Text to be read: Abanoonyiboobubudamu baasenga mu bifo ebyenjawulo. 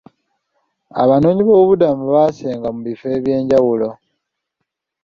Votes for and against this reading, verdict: 2, 0, accepted